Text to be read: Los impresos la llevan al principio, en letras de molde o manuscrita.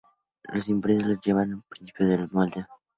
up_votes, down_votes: 2, 4